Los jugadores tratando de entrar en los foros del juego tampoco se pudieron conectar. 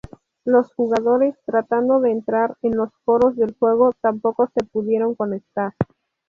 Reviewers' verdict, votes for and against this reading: rejected, 0, 2